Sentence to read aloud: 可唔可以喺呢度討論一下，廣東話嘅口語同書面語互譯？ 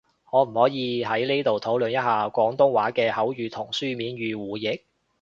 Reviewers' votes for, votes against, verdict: 3, 0, accepted